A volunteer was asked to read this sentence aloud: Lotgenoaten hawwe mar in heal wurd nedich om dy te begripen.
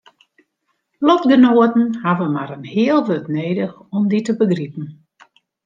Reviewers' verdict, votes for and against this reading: accepted, 2, 0